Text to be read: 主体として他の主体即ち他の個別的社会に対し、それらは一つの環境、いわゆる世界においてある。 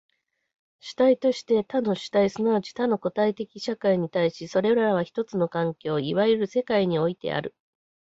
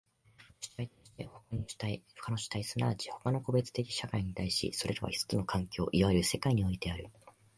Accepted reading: first